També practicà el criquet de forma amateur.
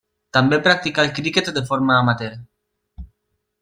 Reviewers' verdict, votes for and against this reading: rejected, 1, 2